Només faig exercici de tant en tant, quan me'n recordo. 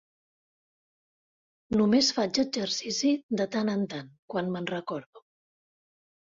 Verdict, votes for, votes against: accepted, 4, 0